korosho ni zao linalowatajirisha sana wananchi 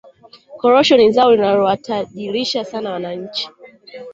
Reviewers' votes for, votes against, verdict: 0, 2, rejected